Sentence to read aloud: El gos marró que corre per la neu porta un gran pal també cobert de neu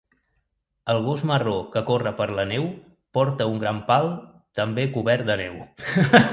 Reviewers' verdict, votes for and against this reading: rejected, 1, 2